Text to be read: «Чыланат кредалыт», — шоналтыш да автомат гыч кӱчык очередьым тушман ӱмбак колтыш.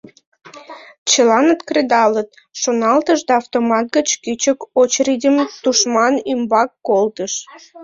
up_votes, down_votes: 0, 2